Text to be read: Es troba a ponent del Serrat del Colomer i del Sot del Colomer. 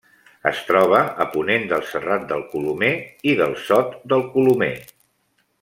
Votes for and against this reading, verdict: 3, 1, accepted